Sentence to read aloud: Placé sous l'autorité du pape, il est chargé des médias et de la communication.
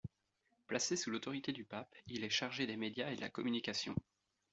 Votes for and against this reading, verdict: 2, 1, accepted